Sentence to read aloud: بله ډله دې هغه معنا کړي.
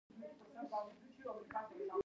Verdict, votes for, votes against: rejected, 1, 2